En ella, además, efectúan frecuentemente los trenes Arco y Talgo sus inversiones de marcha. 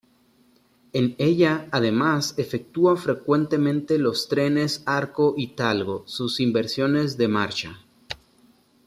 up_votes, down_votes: 2, 0